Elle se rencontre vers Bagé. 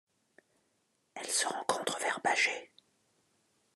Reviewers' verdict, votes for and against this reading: accepted, 2, 0